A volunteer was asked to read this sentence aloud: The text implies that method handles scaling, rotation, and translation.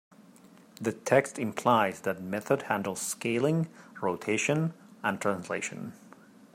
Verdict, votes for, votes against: accepted, 3, 0